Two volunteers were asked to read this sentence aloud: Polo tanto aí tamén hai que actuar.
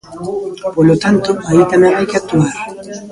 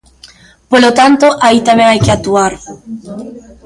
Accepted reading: first